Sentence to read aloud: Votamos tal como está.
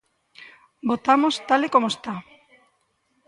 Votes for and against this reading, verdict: 0, 2, rejected